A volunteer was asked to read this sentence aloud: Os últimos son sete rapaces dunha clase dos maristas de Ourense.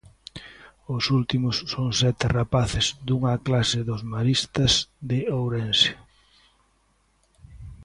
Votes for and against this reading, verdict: 2, 0, accepted